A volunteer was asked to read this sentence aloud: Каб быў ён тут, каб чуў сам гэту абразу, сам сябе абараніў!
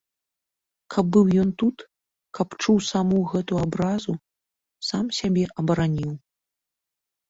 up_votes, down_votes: 1, 2